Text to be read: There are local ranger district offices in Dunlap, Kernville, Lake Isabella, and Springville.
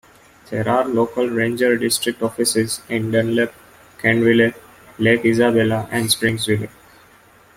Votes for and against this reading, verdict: 1, 2, rejected